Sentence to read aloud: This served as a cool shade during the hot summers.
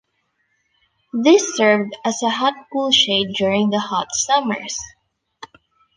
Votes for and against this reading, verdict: 1, 3, rejected